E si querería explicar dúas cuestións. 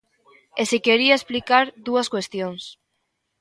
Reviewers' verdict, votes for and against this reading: rejected, 0, 2